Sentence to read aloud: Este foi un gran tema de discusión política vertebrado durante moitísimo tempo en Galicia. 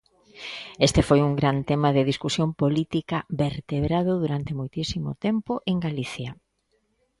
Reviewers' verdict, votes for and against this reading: accepted, 2, 0